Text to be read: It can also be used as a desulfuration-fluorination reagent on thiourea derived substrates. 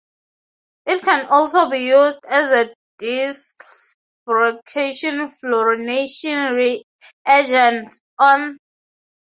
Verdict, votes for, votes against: rejected, 0, 2